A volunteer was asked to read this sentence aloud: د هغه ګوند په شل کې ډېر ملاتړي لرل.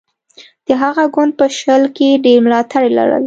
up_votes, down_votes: 2, 0